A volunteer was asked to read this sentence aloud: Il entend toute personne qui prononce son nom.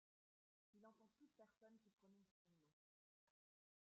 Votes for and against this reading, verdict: 1, 2, rejected